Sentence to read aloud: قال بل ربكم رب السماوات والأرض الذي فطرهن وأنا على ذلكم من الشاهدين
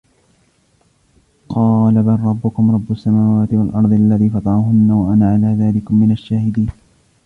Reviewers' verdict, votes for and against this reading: rejected, 1, 2